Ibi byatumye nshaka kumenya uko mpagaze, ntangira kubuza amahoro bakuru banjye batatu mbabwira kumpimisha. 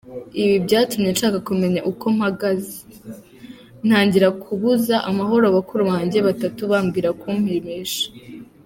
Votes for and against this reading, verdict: 0, 2, rejected